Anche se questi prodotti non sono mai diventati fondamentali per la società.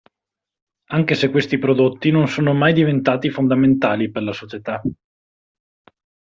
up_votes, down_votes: 2, 0